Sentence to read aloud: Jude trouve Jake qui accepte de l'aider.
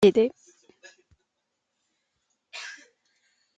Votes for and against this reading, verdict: 0, 2, rejected